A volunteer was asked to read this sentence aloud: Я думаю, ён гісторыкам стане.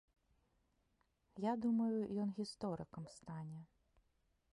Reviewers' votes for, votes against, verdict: 2, 0, accepted